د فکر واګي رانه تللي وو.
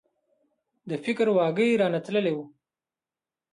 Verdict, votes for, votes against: rejected, 0, 2